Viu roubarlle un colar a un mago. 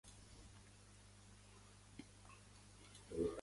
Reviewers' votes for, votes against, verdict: 0, 2, rejected